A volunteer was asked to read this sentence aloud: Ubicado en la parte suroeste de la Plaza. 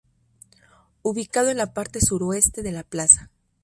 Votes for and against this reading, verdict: 2, 0, accepted